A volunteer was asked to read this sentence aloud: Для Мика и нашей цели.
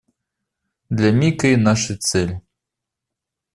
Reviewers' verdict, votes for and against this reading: accepted, 2, 0